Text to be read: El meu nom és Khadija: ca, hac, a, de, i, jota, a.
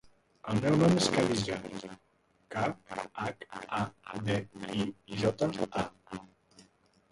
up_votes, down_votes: 2, 1